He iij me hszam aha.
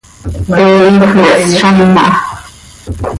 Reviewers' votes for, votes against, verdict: 1, 2, rejected